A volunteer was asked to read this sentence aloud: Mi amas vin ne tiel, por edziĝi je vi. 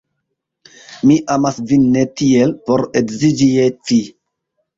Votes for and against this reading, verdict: 0, 2, rejected